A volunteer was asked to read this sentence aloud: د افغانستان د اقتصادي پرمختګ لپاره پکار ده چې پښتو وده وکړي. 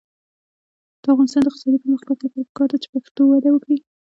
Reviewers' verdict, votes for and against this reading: accepted, 2, 1